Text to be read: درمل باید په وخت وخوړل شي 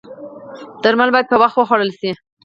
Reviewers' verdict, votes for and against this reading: accepted, 4, 0